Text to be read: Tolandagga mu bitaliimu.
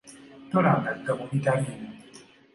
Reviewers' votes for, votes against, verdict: 3, 0, accepted